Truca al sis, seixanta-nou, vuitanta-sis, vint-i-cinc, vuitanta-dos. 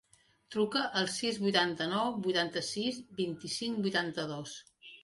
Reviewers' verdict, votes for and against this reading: rejected, 0, 2